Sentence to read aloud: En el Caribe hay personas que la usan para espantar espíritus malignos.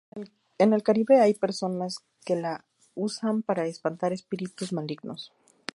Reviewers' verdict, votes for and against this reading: accepted, 2, 0